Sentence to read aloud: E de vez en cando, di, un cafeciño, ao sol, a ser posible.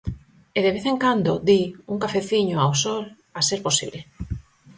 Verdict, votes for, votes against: accepted, 4, 0